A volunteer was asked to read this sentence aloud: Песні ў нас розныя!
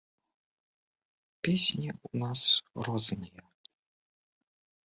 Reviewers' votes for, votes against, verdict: 2, 0, accepted